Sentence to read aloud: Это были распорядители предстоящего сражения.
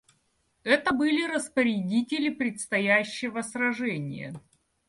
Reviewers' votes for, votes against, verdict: 2, 0, accepted